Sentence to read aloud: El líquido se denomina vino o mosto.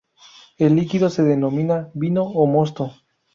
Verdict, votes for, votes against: rejected, 2, 2